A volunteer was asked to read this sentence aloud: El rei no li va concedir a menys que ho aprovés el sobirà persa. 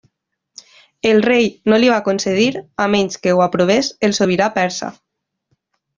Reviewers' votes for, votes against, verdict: 3, 0, accepted